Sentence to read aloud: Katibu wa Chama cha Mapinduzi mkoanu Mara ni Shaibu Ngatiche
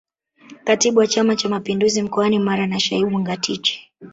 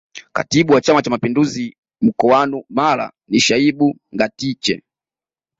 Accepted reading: second